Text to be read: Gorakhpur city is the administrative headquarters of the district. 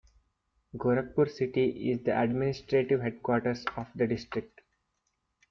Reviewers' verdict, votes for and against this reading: accepted, 2, 1